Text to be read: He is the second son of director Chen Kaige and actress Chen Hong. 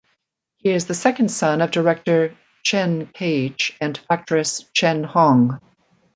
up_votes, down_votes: 2, 0